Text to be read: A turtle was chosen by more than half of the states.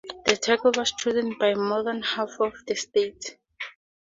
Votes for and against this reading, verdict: 2, 0, accepted